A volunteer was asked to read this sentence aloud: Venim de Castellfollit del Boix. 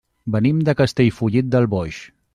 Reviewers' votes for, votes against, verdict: 3, 0, accepted